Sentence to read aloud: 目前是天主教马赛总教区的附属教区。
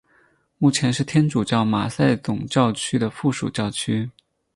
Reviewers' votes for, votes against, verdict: 4, 0, accepted